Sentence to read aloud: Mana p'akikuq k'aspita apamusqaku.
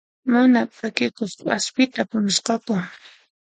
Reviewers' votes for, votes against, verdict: 2, 0, accepted